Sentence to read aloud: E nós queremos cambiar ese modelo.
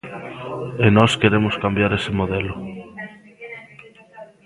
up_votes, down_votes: 1, 2